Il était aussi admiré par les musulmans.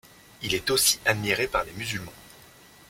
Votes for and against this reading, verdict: 1, 2, rejected